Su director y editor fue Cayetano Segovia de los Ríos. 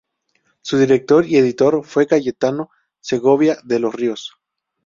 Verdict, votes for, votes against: accepted, 4, 0